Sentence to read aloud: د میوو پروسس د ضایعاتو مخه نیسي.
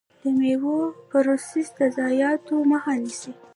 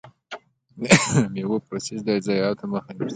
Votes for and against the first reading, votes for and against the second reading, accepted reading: 1, 2, 2, 1, second